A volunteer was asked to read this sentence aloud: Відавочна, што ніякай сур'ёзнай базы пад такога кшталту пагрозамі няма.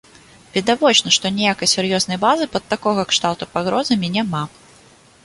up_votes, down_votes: 2, 0